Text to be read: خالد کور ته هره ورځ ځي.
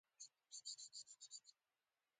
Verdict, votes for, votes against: rejected, 0, 2